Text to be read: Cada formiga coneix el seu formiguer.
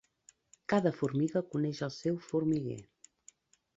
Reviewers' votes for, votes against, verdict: 2, 0, accepted